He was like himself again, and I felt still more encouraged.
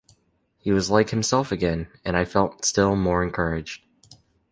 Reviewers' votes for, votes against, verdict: 2, 0, accepted